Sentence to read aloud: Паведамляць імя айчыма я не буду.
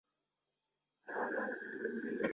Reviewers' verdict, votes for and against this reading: rejected, 0, 2